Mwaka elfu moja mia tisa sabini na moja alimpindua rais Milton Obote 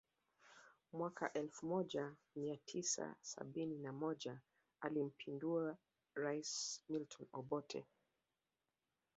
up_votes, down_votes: 1, 2